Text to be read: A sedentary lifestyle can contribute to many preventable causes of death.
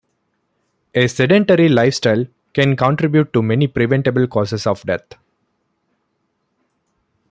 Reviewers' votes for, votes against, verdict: 2, 0, accepted